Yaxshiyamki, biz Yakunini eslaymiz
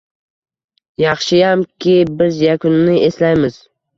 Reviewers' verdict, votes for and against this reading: accepted, 2, 0